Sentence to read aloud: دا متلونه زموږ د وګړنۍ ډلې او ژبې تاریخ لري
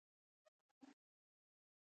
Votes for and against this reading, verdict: 1, 2, rejected